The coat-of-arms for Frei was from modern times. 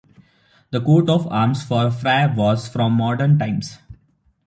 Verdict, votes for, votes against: rejected, 0, 2